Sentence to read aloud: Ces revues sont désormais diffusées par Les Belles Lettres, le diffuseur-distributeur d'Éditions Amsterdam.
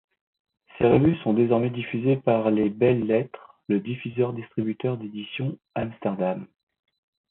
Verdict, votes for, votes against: accepted, 2, 1